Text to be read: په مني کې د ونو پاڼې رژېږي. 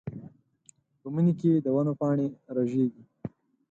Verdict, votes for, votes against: accepted, 8, 0